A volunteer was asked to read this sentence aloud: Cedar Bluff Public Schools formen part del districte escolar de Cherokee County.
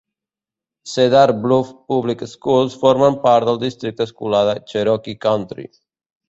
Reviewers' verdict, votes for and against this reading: rejected, 0, 2